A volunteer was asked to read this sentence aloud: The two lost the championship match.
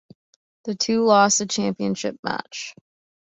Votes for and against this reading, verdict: 2, 0, accepted